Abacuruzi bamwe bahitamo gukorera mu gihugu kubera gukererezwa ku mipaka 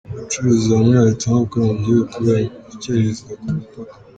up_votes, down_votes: 1, 2